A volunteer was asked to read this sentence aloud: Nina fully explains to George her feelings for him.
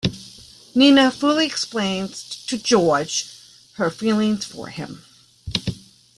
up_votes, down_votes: 3, 0